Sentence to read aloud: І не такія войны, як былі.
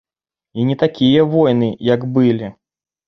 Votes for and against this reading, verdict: 1, 2, rejected